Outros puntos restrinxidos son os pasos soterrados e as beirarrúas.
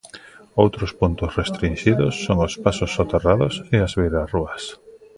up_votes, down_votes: 2, 0